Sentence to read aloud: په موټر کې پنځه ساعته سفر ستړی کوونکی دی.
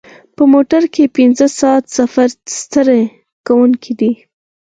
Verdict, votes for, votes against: rejected, 2, 4